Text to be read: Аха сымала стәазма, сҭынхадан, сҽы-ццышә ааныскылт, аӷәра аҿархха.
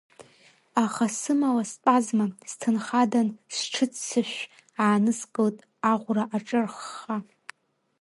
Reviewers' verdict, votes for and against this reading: rejected, 1, 2